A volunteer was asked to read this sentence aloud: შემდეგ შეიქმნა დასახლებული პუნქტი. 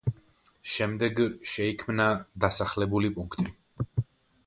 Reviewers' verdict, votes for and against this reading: accepted, 2, 0